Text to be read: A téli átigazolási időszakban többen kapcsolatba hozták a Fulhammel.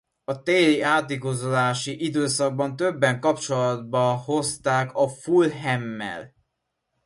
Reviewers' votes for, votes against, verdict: 2, 0, accepted